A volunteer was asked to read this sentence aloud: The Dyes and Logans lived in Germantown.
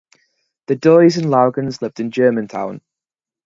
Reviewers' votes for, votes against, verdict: 4, 0, accepted